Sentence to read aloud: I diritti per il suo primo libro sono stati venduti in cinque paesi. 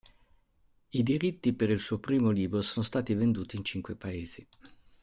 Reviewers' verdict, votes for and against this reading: accepted, 2, 0